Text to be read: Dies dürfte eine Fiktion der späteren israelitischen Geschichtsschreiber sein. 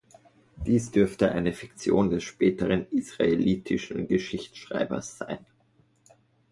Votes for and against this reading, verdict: 0, 2, rejected